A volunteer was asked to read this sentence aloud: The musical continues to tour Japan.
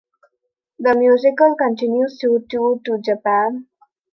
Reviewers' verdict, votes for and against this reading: rejected, 0, 2